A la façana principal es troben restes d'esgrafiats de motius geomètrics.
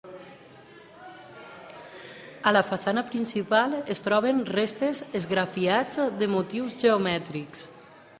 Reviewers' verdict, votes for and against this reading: rejected, 0, 2